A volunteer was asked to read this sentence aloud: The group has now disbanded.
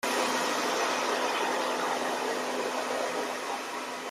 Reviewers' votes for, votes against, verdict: 0, 2, rejected